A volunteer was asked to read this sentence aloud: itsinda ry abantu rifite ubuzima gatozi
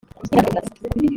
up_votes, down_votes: 0, 2